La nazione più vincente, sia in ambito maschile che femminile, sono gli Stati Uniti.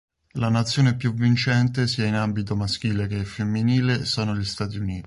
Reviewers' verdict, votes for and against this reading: rejected, 1, 2